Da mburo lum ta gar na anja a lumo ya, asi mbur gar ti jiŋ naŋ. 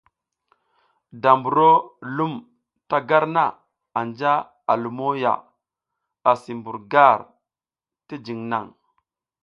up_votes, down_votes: 2, 0